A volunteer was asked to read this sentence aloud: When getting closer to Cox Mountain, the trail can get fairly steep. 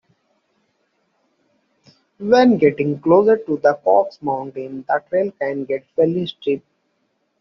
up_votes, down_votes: 0, 2